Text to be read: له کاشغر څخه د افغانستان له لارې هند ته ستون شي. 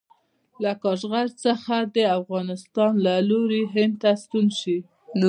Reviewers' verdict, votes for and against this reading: rejected, 0, 2